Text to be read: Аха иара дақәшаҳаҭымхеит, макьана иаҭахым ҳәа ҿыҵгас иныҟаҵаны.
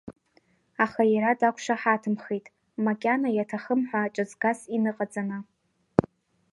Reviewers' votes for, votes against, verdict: 2, 0, accepted